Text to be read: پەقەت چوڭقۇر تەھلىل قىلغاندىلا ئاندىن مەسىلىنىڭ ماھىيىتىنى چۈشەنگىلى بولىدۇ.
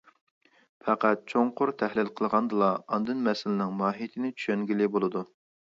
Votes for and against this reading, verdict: 2, 0, accepted